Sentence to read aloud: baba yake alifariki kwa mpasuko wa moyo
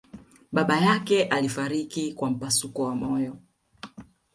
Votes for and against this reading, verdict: 2, 0, accepted